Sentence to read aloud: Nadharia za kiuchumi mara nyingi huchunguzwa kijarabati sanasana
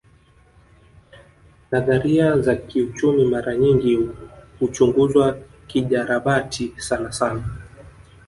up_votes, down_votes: 1, 2